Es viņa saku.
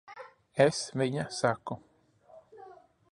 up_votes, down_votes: 2, 0